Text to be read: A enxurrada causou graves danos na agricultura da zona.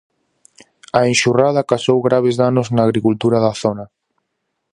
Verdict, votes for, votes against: rejected, 2, 2